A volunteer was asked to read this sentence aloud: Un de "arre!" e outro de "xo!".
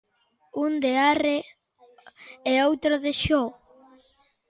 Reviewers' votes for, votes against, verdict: 2, 0, accepted